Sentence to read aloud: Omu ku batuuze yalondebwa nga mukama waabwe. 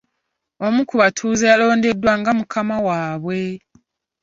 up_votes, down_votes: 0, 2